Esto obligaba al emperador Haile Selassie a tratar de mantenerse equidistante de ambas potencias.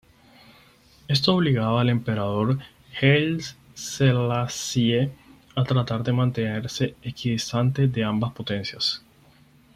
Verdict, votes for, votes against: rejected, 2, 4